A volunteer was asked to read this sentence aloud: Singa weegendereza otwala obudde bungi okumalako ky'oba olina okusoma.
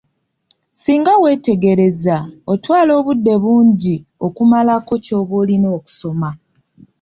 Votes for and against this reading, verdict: 1, 2, rejected